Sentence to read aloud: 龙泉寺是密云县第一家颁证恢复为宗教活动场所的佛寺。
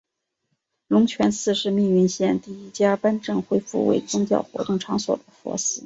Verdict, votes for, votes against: accepted, 2, 1